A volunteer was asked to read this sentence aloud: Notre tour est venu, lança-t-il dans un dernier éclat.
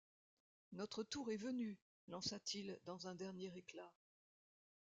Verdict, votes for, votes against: rejected, 1, 2